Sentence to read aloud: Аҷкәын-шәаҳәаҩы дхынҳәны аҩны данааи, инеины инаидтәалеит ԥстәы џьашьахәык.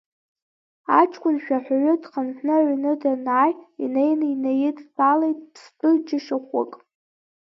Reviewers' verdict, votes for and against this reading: accepted, 3, 2